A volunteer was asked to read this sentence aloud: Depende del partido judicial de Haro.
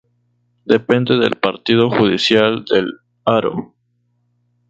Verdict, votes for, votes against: accepted, 4, 2